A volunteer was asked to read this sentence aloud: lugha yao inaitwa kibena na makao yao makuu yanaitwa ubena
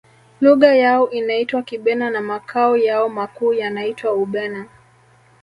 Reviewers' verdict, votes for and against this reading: rejected, 1, 2